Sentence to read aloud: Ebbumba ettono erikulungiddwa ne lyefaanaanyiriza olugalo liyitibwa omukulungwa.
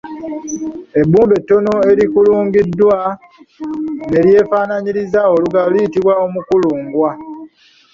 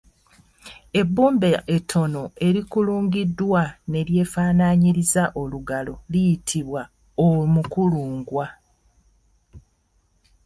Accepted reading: second